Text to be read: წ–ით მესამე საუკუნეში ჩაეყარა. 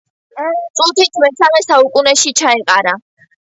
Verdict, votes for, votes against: accepted, 2, 0